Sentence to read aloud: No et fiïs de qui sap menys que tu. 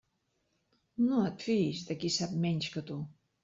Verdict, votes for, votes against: accepted, 3, 0